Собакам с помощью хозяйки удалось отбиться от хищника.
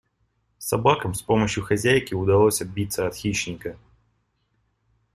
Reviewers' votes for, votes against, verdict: 2, 0, accepted